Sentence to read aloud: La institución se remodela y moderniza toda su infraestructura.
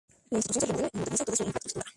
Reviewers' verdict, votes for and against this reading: rejected, 0, 2